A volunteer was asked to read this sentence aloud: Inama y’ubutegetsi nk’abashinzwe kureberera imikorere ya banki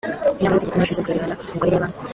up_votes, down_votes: 0, 2